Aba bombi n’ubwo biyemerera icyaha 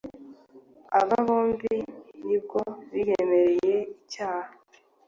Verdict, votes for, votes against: accepted, 2, 1